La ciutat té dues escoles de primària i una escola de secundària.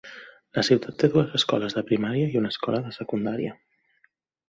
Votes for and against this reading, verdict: 1, 2, rejected